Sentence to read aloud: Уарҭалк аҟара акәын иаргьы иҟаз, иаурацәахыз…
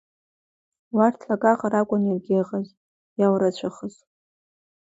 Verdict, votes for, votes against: accepted, 2, 1